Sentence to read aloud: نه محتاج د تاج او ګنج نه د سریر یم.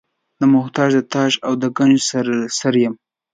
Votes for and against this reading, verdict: 0, 2, rejected